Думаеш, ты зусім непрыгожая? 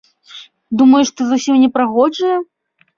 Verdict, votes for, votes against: accepted, 2, 0